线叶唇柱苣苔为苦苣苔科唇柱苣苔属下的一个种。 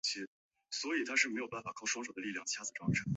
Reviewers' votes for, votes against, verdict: 0, 2, rejected